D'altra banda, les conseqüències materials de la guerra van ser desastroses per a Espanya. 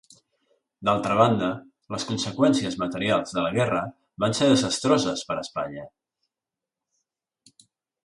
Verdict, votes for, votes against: accepted, 2, 0